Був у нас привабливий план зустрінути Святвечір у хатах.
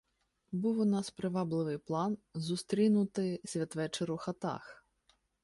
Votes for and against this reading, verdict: 1, 2, rejected